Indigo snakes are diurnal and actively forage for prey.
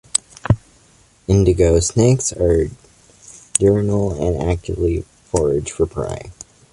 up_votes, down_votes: 2, 0